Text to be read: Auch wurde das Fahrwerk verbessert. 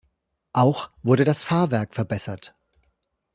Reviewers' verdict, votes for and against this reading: accepted, 2, 0